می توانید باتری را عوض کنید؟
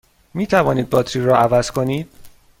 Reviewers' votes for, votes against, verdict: 2, 0, accepted